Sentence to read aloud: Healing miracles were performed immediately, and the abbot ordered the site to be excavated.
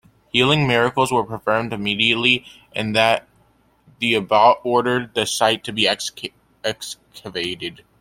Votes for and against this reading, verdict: 1, 2, rejected